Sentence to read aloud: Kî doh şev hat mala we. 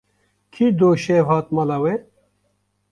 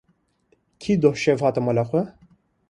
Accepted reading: second